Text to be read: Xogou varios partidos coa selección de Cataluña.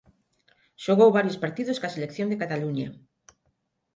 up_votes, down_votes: 3, 6